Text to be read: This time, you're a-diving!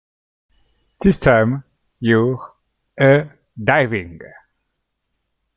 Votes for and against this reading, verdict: 2, 0, accepted